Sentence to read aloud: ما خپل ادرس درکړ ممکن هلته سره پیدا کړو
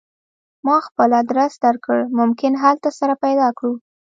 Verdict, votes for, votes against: rejected, 1, 2